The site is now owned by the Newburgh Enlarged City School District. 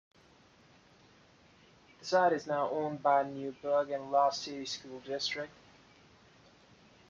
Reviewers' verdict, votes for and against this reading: accepted, 2, 0